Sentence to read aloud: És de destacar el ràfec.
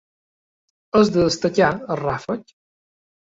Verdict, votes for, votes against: accepted, 4, 1